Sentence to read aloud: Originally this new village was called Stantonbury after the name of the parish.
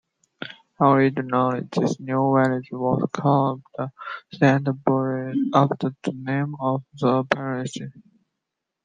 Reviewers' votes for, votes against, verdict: 2, 1, accepted